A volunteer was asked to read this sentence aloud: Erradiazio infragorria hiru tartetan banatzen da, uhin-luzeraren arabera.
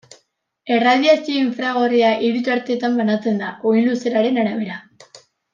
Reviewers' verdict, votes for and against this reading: accepted, 2, 0